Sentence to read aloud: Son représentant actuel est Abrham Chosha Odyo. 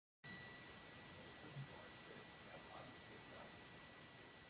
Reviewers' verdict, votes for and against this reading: rejected, 0, 2